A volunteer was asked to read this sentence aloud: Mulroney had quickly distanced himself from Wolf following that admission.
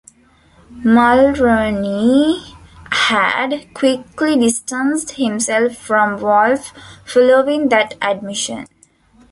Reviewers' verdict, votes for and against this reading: accepted, 2, 1